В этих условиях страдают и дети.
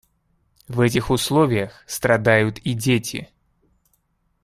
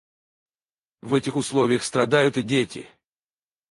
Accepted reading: first